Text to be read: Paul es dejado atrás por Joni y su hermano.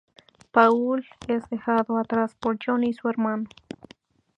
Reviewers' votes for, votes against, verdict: 2, 0, accepted